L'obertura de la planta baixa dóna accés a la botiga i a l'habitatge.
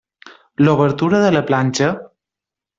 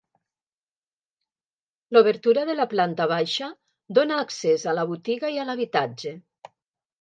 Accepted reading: second